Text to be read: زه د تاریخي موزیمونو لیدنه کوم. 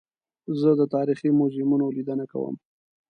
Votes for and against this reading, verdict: 2, 0, accepted